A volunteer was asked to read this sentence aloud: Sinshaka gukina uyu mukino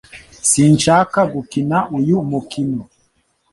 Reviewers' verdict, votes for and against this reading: accepted, 2, 0